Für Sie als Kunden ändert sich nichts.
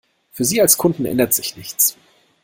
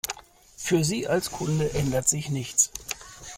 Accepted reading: first